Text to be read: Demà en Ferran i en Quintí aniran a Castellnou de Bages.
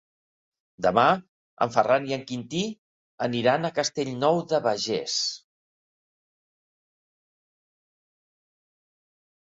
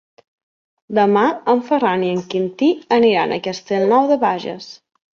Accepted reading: second